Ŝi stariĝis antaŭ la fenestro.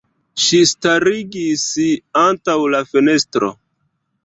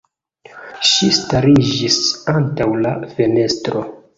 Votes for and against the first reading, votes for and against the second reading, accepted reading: 1, 2, 2, 0, second